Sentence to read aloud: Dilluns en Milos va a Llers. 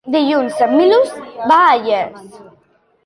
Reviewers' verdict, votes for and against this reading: accepted, 2, 1